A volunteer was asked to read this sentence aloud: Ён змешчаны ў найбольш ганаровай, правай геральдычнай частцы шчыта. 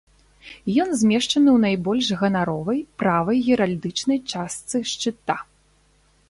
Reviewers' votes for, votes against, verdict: 2, 0, accepted